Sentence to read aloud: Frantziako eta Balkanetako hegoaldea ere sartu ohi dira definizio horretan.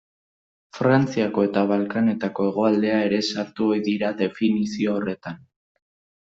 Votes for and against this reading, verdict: 2, 0, accepted